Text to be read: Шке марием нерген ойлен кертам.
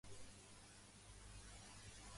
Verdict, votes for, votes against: rejected, 0, 2